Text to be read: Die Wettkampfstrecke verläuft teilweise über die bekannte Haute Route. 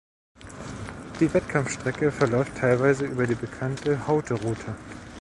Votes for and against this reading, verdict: 1, 2, rejected